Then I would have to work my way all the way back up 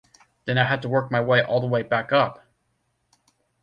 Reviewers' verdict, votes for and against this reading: rejected, 0, 2